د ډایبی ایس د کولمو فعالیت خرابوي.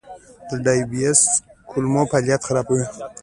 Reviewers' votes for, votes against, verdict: 2, 0, accepted